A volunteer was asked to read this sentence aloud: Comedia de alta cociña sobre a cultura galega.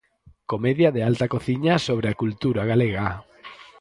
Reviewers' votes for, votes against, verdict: 4, 0, accepted